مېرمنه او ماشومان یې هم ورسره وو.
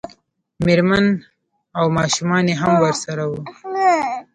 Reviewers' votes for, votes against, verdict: 1, 2, rejected